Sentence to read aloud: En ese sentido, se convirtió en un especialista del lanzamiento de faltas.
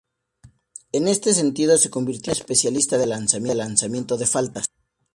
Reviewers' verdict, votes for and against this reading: accepted, 2, 0